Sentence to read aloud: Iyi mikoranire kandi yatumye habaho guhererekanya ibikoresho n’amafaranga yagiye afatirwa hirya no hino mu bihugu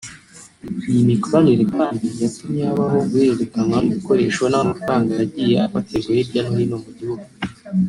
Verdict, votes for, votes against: rejected, 1, 2